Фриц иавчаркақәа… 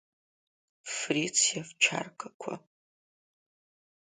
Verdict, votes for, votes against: rejected, 1, 2